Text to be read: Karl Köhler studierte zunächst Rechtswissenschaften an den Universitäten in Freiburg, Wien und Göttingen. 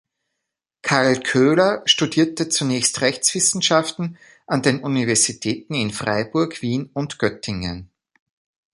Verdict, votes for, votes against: accepted, 2, 0